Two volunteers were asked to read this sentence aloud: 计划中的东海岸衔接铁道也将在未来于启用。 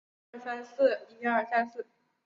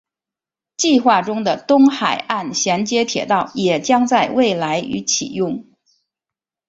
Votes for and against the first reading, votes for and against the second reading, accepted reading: 1, 3, 2, 0, second